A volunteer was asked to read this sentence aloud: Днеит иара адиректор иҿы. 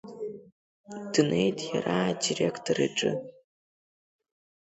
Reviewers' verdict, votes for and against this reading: accepted, 2, 0